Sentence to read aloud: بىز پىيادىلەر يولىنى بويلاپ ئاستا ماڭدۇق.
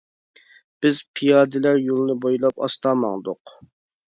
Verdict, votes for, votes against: accepted, 2, 0